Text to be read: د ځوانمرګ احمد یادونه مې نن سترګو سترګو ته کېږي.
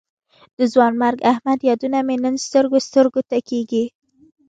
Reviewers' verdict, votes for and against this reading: accepted, 2, 0